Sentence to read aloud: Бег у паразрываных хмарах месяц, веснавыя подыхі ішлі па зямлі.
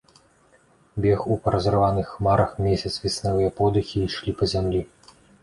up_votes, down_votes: 2, 0